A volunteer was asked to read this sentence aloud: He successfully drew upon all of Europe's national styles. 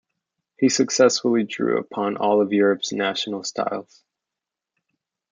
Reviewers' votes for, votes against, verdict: 1, 2, rejected